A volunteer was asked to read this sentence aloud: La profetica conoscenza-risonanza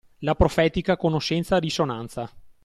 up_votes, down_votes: 2, 0